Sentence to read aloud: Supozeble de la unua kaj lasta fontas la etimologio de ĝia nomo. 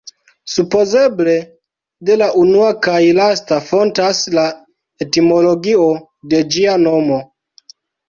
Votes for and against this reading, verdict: 1, 2, rejected